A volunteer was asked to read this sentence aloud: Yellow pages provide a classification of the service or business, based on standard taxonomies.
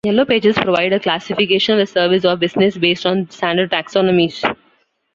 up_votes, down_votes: 1, 2